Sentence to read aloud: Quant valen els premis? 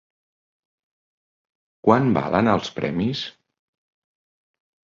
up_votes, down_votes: 2, 0